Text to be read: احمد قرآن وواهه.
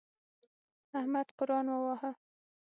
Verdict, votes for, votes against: accepted, 6, 0